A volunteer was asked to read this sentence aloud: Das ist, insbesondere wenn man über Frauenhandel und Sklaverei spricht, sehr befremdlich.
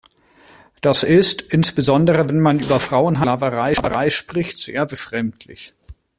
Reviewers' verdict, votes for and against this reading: rejected, 0, 2